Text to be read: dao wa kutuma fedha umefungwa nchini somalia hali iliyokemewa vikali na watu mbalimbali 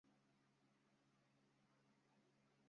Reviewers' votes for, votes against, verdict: 0, 3, rejected